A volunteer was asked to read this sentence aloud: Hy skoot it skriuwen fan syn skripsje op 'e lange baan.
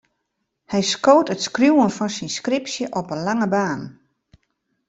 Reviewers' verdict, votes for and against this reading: accepted, 2, 0